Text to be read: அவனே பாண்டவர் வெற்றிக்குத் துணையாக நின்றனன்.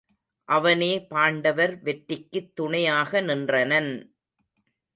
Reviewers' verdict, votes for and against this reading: rejected, 0, 2